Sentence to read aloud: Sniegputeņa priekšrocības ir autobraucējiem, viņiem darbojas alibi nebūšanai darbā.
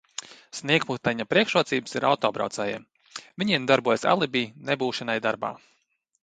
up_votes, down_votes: 2, 0